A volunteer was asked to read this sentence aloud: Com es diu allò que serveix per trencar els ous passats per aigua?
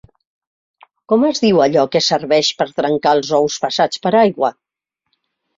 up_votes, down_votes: 2, 0